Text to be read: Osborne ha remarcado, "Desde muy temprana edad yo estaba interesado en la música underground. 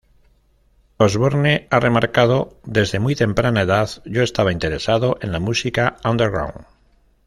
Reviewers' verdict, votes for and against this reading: rejected, 0, 2